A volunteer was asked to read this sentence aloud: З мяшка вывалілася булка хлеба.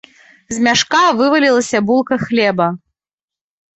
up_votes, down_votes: 2, 0